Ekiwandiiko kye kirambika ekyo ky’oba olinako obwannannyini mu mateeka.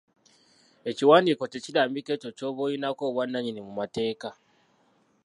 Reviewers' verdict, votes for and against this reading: rejected, 0, 2